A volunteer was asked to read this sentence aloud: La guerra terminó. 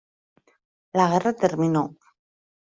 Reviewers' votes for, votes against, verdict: 2, 0, accepted